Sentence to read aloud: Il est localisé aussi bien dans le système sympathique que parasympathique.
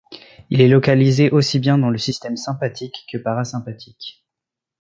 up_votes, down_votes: 2, 0